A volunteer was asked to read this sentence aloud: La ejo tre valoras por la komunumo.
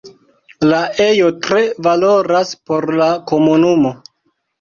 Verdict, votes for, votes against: accepted, 2, 1